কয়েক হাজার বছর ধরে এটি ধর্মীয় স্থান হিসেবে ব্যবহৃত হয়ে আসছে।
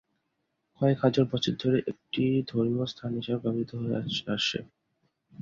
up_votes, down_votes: 0, 2